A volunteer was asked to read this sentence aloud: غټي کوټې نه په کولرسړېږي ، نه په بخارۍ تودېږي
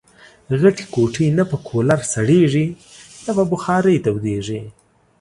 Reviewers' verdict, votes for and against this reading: accepted, 2, 1